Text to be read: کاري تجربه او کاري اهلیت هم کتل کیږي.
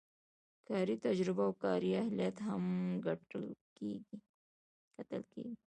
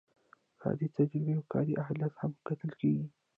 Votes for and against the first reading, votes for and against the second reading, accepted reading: 1, 2, 2, 1, second